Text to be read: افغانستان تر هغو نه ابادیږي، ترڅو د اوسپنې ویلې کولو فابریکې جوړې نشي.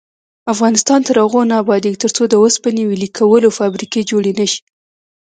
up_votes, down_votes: 2, 0